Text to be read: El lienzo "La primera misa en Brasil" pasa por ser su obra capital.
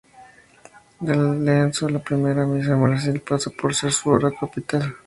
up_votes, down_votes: 0, 2